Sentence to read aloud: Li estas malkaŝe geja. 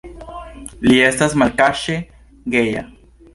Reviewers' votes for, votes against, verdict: 2, 0, accepted